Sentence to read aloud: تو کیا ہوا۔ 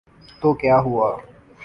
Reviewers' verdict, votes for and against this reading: accepted, 8, 1